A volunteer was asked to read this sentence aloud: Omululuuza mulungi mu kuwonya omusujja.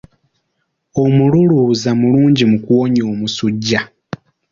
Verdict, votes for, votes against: accepted, 2, 0